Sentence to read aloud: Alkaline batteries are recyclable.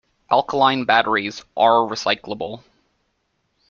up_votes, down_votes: 2, 0